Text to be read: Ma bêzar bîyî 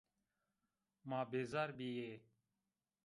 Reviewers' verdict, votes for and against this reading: rejected, 1, 2